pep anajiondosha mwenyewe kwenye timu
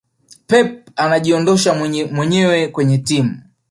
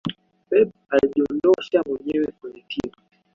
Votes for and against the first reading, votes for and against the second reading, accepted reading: 2, 0, 0, 2, first